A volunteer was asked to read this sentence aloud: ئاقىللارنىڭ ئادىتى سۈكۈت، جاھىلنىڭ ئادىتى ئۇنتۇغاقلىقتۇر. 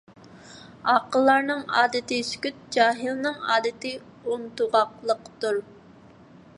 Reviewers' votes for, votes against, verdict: 2, 0, accepted